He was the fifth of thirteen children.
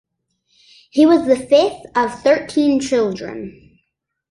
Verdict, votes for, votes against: accepted, 2, 0